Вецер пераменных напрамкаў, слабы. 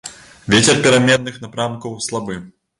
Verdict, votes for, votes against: accepted, 2, 0